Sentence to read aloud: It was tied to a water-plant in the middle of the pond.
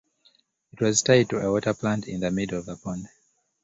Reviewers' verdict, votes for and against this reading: accepted, 2, 0